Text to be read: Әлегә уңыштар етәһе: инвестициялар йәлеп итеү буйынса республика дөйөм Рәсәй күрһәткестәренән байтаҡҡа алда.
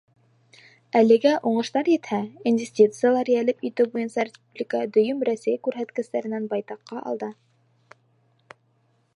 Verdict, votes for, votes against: rejected, 0, 2